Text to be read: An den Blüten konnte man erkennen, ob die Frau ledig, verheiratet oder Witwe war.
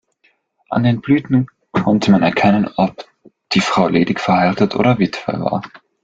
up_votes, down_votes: 0, 2